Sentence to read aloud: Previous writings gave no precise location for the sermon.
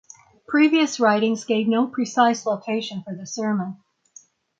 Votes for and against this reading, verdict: 6, 0, accepted